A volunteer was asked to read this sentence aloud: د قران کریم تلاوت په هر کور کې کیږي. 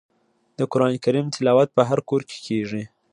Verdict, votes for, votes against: accepted, 2, 0